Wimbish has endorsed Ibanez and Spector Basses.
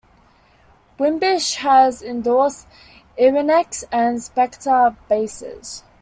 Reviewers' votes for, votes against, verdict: 1, 2, rejected